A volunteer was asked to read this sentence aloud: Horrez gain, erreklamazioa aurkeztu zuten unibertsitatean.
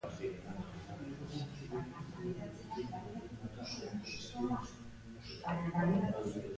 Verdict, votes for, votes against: rejected, 0, 2